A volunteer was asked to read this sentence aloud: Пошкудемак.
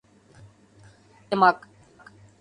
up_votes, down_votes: 0, 2